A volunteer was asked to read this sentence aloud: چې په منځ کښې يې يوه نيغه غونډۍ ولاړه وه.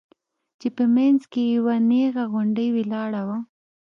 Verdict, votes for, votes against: accepted, 2, 0